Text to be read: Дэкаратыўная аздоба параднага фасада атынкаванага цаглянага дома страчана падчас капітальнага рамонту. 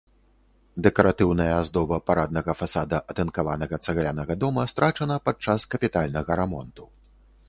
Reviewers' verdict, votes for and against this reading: accepted, 2, 0